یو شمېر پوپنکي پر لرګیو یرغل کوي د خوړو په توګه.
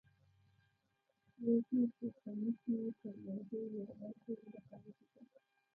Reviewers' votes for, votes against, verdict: 1, 2, rejected